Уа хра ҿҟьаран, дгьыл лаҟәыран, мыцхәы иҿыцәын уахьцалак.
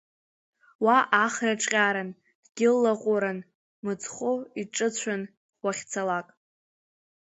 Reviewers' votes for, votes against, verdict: 0, 2, rejected